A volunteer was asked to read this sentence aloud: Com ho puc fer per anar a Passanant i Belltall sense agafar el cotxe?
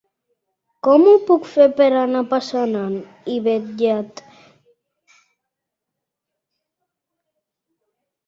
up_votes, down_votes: 1, 2